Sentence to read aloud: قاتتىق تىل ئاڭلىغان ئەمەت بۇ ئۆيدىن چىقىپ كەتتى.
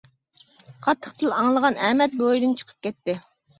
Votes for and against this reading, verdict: 2, 0, accepted